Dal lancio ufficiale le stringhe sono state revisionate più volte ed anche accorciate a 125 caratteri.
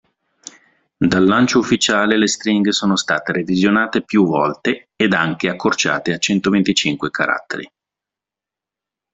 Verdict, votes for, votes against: rejected, 0, 2